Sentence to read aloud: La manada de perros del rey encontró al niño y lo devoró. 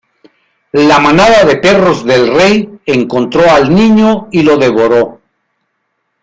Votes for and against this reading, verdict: 2, 0, accepted